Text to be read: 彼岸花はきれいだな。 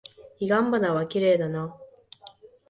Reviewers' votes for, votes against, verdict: 4, 0, accepted